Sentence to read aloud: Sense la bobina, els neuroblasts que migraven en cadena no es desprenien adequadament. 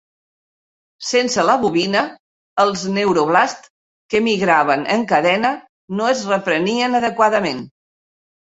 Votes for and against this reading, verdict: 1, 2, rejected